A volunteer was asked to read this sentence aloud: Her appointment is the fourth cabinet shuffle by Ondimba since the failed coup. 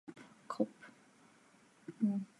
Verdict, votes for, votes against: rejected, 0, 2